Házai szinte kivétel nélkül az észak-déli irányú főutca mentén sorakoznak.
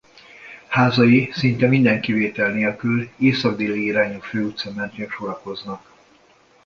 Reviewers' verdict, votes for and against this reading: rejected, 0, 2